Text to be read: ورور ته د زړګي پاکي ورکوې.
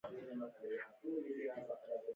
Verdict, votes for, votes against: rejected, 1, 2